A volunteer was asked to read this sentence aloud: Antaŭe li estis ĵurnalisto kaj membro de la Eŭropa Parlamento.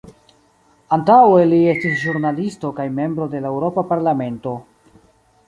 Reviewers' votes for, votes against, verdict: 2, 0, accepted